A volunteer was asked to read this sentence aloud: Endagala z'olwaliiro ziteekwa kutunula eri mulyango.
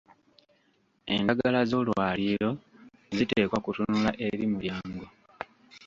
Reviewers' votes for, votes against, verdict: 0, 2, rejected